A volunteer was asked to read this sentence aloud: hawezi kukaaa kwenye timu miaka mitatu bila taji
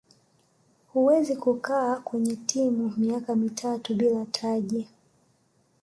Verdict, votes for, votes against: rejected, 1, 2